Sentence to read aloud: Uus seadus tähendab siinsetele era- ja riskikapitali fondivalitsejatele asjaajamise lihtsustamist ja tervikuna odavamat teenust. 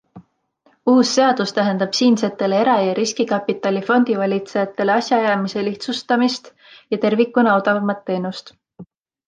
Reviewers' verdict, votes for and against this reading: accepted, 2, 0